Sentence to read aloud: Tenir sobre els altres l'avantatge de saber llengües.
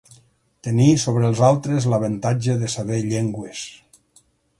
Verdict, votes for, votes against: accepted, 6, 0